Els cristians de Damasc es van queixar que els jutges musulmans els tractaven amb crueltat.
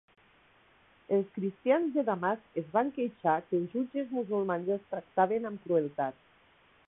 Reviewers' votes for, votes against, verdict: 1, 2, rejected